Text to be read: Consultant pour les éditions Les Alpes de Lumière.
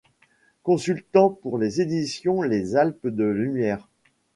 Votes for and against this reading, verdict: 2, 0, accepted